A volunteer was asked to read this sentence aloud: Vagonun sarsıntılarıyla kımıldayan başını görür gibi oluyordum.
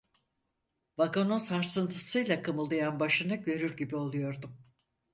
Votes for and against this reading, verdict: 0, 4, rejected